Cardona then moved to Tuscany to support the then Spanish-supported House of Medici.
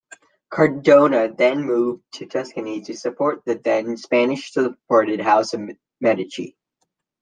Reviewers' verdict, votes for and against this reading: accepted, 2, 1